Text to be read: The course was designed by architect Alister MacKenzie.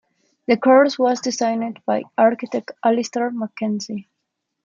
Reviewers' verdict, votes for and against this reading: rejected, 1, 2